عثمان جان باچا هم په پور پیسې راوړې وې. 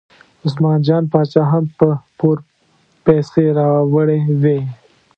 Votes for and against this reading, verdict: 2, 0, accepted